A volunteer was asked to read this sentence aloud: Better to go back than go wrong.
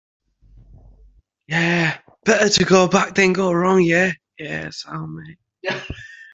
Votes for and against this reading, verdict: 0, 2, rejected